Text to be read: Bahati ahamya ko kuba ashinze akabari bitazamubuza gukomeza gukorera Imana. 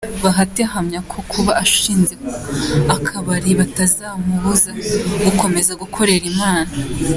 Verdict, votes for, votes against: accepted, 2, 1